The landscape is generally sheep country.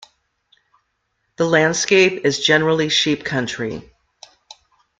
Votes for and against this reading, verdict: 1, 2, rejected